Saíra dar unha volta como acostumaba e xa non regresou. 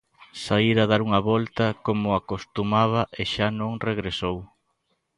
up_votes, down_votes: 1, 2